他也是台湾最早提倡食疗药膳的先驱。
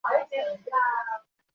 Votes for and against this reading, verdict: 0, 3, rejected